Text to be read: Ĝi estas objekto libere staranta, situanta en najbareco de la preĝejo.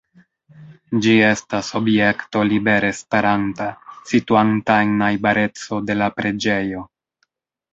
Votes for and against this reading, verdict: 2, 1, accepted